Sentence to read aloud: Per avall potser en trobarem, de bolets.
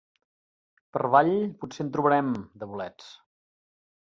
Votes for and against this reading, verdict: 0, 2, rejected